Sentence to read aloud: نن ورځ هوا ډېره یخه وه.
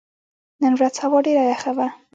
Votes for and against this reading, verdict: 2, 0, accepted